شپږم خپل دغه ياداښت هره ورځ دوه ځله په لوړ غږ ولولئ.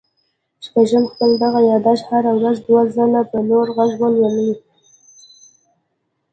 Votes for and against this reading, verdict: 0, 2, rejected